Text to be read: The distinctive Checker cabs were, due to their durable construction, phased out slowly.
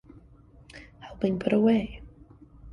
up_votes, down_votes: 0, 2